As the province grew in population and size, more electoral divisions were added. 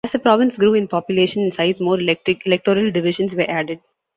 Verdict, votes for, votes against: rejected, 0, 2